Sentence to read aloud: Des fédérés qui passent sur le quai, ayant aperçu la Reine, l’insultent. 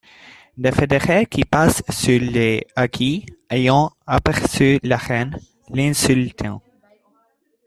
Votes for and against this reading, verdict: 0, 2, rejected